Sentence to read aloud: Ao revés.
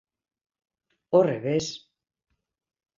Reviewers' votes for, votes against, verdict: 0, 2, rejected